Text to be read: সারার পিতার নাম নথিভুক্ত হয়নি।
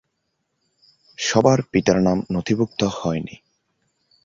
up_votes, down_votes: 0, 2